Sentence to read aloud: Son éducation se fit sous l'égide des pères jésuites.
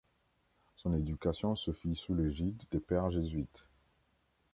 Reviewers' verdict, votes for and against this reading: accepted, 2, 0